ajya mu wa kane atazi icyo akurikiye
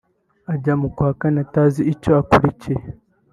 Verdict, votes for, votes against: rejected, 1, 2